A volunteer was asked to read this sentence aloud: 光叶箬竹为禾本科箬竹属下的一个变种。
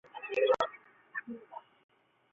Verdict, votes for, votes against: rejected, 0, 5